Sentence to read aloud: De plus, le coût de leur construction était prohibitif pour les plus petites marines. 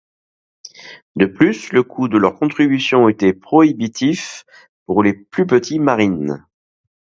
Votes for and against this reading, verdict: 2, 0, accepted